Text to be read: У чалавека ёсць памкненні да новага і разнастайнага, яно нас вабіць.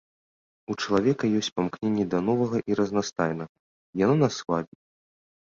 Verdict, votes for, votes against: rejected, 0, 2